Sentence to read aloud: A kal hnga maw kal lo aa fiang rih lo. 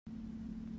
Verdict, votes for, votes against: rejected, 0, 2